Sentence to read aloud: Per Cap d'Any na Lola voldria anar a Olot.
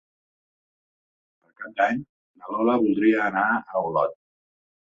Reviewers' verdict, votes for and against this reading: rejected, 1, 2